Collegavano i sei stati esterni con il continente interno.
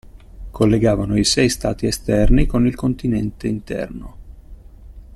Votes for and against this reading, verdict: 2, 0, accepted